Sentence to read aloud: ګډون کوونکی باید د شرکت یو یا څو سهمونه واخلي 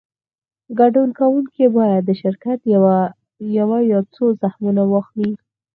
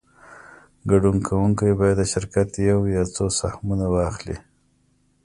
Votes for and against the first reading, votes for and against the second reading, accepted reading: 0, 4, 2, 0, second